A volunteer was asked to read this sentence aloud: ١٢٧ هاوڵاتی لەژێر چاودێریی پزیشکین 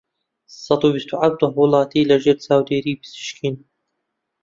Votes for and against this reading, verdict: 0, 2, rejected